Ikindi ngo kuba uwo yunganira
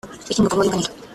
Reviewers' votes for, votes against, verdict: 0, 2, rejected